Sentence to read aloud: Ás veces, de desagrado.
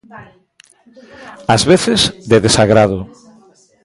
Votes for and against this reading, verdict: 0, 2, rejected